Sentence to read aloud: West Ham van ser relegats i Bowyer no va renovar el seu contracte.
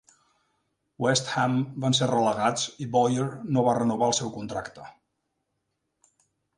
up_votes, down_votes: 2, 0